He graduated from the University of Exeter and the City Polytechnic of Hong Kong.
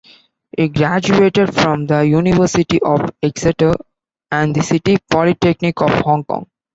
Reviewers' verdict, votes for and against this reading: rejected, 1, 2